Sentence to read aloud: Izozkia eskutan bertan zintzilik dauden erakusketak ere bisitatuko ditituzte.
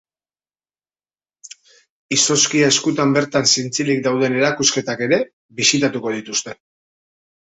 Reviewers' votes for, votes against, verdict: 1, 2, rejected